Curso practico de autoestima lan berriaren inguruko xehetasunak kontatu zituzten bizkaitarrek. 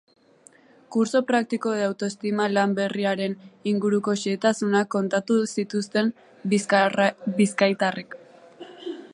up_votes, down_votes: 0, 2